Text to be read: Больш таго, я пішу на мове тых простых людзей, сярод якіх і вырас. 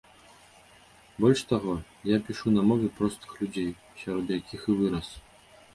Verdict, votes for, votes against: rejected, 1, 2